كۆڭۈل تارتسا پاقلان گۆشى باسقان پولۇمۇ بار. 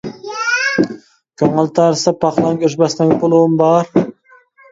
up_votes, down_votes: 1, 2